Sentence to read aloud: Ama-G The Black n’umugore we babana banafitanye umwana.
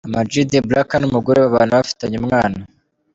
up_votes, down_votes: 1, 2